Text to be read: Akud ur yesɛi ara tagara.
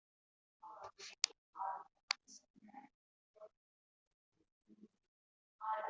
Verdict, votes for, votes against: rejected, 1, 2